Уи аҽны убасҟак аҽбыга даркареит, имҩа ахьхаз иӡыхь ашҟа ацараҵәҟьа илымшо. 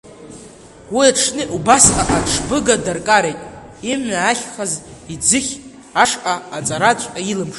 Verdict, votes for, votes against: rejected, 0, 2